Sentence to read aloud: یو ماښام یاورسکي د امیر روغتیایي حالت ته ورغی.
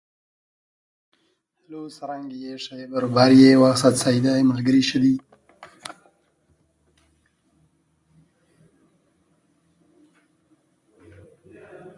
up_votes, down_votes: 0, 2